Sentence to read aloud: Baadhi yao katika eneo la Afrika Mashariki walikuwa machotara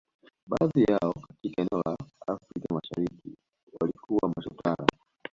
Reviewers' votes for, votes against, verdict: 0, 2, rejected